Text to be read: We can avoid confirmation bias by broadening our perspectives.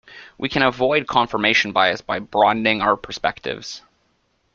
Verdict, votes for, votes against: accepted, 2, 0